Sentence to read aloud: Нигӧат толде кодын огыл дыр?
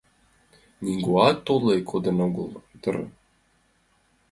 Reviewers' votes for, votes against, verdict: 0, 2, rejected